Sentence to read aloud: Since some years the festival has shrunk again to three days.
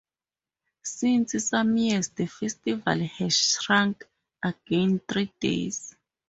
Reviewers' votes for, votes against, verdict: 0, 2, rejected